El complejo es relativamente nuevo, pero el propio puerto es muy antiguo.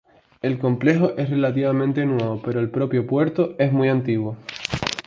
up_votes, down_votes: 2, 0